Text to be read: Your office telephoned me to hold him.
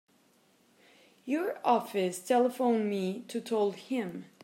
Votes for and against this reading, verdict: 0, 2, rejected